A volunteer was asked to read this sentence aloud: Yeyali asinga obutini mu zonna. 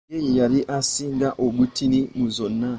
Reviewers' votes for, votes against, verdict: 2, 0, accepted